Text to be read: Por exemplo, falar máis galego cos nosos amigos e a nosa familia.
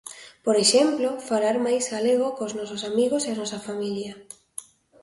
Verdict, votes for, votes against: accepted, 2, 0